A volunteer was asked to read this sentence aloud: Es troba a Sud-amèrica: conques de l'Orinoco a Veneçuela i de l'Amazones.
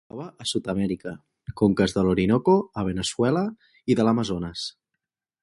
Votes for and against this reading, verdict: 0, 2, rejected